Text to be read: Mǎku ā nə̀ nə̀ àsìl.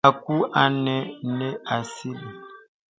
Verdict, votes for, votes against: rejected, 1, 2